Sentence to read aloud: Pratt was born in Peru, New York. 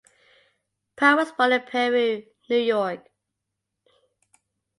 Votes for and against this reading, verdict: 2, 0, accepted